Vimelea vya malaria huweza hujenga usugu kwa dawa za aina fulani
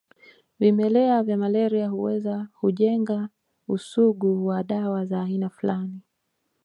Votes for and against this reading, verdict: 2, 0, accepted